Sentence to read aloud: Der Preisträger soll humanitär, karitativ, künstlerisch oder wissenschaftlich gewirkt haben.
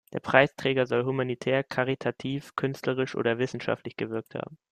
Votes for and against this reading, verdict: 2, 0, accepted